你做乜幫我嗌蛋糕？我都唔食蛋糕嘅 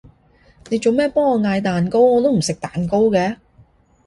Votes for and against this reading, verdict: 1, 2, rejected